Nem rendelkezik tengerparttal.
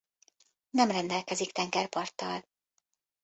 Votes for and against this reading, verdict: 3, 0, accepted